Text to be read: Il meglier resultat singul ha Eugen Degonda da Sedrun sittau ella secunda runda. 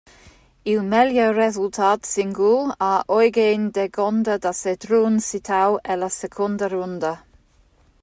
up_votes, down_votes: 1, 2